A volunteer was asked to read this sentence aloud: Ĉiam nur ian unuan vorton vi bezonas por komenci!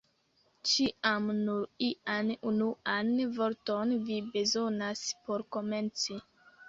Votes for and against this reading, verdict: 1, 2, rejected